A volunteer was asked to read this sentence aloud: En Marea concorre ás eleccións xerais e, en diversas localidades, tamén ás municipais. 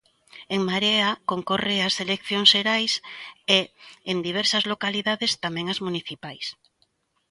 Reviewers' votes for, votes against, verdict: 2, 0, accepted